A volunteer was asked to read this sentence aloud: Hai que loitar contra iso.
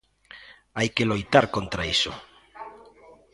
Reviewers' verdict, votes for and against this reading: rejected, 1, 2